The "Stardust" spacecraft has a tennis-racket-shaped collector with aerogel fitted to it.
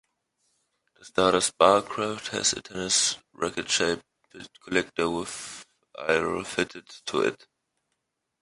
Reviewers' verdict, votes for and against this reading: rejected, 0, 2